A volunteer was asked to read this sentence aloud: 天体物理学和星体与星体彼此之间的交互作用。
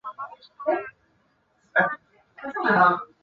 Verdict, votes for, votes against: rejected, 0, 4